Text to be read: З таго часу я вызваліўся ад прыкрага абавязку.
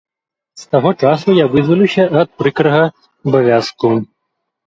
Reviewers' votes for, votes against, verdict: 0, 3, rejected